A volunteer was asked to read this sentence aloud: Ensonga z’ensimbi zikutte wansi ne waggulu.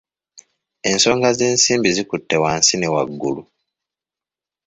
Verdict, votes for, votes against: accepted, 2, 0